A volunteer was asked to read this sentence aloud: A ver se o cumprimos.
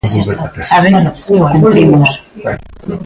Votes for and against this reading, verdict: 0, 2, rejected